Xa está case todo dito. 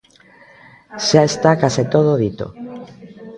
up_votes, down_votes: 0, 2